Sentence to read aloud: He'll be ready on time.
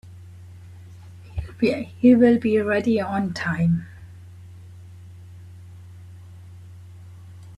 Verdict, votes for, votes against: rejected, 0, 2